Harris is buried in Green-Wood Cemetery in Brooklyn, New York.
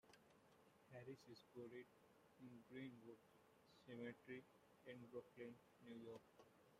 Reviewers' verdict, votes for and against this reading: rejected, 0, 2